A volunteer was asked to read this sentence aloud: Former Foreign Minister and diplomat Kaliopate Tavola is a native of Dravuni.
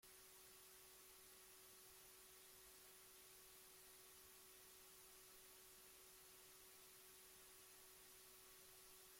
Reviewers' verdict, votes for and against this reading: rejected, 0, 2